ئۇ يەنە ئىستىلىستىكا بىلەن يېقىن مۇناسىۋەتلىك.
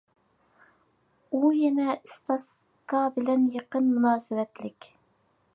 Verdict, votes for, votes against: rejected, 0, 2